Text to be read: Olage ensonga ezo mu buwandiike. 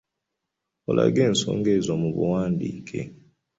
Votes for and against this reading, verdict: 2, 0, accepted